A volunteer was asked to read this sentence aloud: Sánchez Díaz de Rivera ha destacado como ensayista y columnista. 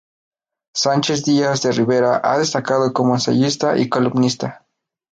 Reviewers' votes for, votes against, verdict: 10, 0, accepted